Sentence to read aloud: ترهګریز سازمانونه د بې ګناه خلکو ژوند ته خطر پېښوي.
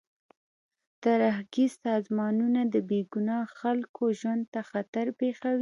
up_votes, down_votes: 2, 0